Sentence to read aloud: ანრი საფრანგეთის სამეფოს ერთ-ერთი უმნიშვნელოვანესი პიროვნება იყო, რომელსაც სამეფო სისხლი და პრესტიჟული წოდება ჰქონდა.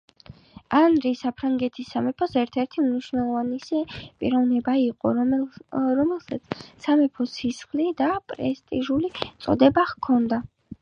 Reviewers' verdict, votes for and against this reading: accepted, 5, 1